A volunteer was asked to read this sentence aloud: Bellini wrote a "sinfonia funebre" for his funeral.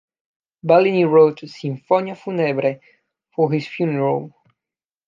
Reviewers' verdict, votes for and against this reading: accepted, 2, 0